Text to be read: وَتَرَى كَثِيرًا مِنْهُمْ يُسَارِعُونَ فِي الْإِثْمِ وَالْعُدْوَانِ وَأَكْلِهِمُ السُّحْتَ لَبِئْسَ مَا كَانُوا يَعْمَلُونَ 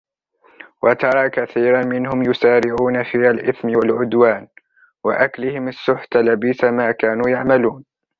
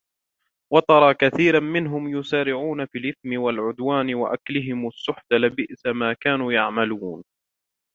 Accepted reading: second